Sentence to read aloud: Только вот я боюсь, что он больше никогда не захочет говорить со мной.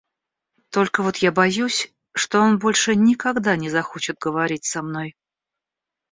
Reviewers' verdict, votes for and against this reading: accepted, 2, 0